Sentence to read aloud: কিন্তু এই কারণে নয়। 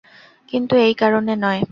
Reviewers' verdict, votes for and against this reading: accepted, 2, 0